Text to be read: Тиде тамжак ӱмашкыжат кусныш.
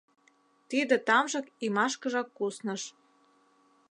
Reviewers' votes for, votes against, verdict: 0, 2, rejected